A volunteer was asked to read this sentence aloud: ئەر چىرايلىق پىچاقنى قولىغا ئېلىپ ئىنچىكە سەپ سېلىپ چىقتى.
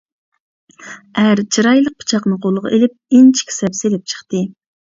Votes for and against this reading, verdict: 2, 0, accepted